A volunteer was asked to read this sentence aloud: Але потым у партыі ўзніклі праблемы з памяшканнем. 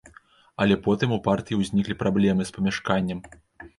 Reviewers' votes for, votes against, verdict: 2, 0, accepted